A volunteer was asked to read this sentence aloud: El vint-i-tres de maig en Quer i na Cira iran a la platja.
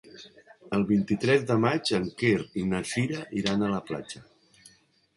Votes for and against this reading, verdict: 4, 0, accepted